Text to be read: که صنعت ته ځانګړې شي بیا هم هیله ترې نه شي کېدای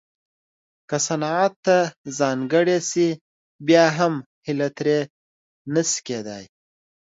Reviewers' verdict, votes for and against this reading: accepted, 2, 0